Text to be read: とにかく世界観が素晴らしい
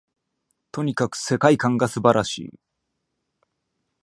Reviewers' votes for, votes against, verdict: 2, 0, accepted